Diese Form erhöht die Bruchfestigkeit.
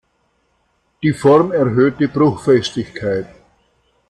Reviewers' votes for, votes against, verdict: 0, 2, rejected